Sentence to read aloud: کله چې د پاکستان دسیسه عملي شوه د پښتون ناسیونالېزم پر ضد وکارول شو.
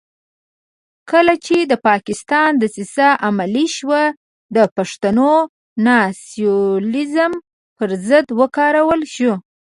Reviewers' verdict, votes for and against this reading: accepted, 2, 0